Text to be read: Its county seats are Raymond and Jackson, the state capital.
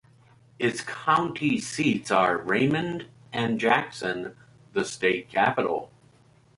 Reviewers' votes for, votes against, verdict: 2, 0, accepted